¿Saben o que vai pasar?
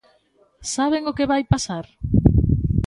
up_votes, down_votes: 2, 0